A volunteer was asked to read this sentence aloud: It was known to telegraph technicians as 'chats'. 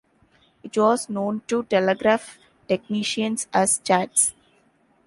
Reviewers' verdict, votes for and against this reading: accepted, 3, 0